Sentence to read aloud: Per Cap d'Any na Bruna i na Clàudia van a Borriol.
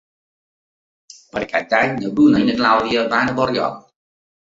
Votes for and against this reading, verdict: 1, 2, rejected